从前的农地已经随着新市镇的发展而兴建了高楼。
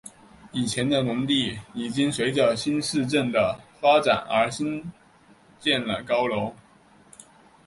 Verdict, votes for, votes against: accepted, 3, 2